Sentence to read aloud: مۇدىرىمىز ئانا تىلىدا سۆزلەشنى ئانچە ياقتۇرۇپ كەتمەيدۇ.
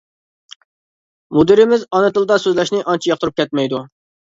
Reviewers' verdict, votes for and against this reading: accepted, 2, 0